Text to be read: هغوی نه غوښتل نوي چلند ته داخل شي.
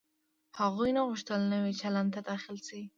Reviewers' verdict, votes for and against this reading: accepted, 2, 1